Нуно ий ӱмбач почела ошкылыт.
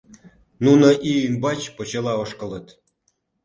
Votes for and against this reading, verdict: 2, 0, accepted